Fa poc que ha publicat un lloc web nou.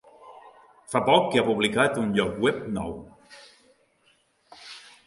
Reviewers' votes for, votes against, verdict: 2, 0, accepted